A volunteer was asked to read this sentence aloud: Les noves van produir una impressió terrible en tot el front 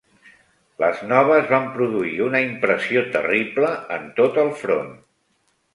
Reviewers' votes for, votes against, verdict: 3, 0, accepted